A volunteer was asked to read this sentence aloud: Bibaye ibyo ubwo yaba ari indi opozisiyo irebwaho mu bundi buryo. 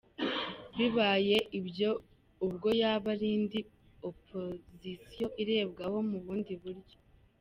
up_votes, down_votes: 2, 0